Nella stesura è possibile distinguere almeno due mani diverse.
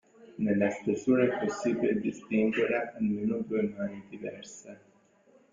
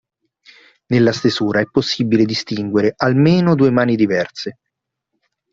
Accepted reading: second